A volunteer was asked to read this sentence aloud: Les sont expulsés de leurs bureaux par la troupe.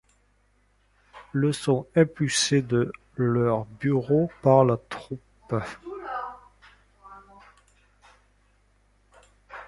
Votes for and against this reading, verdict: 1, 2, rejected